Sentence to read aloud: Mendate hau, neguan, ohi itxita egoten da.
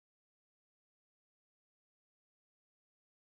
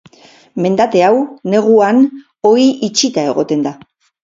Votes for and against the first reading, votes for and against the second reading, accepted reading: 0, 2, 4, 0, second